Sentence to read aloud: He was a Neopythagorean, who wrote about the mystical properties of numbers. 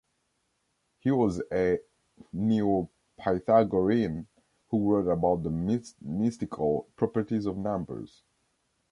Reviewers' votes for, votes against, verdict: 0, 2, rejected